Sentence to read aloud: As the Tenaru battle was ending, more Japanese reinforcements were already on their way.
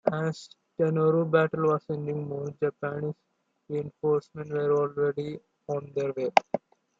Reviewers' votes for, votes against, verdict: 2, 1, accepted